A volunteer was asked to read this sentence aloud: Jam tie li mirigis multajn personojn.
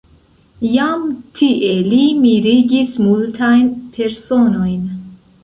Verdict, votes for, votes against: rejected, 1, 2